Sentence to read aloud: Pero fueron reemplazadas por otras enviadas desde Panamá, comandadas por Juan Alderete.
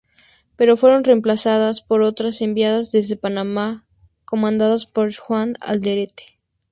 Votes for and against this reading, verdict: 2, 0, accepted